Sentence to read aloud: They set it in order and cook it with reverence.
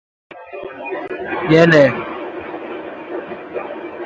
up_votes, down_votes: 0, 2